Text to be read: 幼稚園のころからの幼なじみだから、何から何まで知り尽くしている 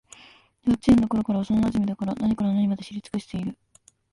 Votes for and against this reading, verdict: 0, 2, rejected